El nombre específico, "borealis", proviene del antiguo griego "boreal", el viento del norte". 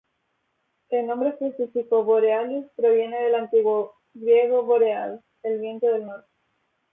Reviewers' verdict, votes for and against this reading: rejected, 0, 2